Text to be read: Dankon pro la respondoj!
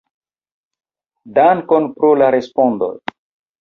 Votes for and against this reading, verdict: 2, 1, accepted